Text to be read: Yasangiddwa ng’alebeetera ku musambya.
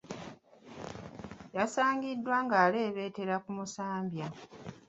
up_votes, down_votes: 3, 2